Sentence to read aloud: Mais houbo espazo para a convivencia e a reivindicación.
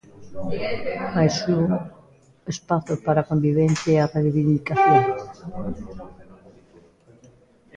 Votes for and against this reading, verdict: 1, 2, rejected